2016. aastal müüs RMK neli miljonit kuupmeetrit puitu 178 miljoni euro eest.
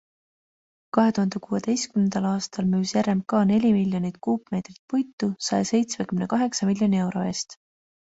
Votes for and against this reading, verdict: 0, 2, rejected